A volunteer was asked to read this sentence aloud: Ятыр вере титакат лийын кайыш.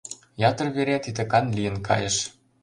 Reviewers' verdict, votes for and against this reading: rejected, 0, 2